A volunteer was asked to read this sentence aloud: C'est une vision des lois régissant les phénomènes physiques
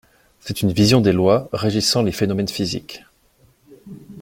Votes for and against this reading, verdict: 2, 0, accepted